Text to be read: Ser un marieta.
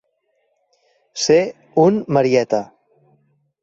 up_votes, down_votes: 2, 1